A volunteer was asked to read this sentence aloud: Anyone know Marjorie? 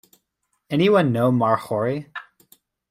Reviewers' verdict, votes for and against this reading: rejected, 1, 2